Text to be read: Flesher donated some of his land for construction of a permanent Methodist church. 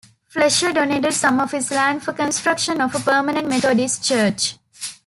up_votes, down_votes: 2, 1